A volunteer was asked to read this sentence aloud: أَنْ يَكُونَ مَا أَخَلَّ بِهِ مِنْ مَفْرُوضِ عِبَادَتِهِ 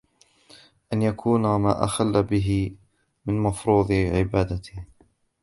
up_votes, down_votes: 1, 2